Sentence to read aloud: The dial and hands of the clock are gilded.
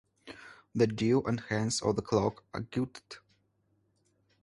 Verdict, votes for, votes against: rejected, 0, 2